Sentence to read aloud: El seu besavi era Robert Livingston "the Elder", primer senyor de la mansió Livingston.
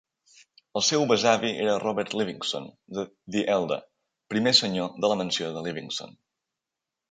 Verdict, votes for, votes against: rejected, 0, 2